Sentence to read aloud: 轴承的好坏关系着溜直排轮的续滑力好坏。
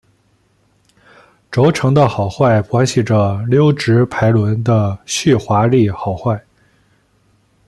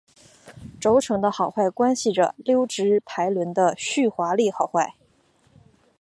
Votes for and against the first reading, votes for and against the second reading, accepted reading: 0, 2, 2, 0, second